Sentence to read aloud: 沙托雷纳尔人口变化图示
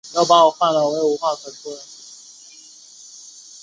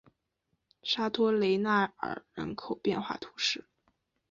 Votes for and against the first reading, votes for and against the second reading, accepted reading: 1, 2, 4, 0, second